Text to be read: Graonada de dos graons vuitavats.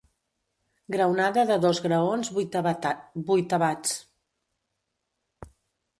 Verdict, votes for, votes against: rejected, 0, 2